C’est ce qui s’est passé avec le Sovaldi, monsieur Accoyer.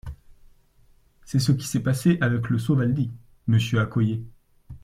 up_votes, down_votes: 2, 0